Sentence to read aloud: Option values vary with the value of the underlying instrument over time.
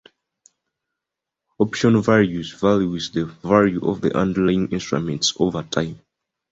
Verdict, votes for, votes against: accepted, 2, 0